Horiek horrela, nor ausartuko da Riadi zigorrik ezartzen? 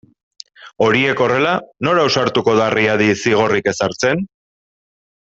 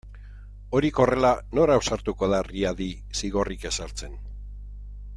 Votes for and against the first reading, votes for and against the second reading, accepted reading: 2, 0, 1, 2, first